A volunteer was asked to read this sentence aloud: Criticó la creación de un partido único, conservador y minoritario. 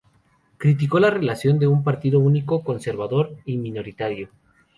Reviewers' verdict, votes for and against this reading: rejected, 0, 2